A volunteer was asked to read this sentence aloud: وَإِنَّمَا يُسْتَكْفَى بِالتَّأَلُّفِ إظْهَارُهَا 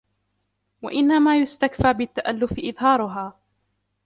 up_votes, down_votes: 1, 2